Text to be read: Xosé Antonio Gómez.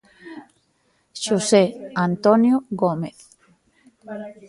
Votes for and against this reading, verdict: 0, 2, rejected